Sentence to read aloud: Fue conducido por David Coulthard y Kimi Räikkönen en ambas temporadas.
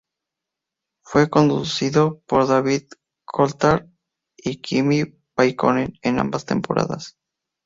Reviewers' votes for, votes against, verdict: 2, 2, rejected